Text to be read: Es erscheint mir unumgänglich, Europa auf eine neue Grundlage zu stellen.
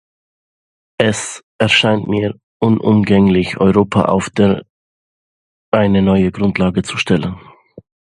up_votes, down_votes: 0, 2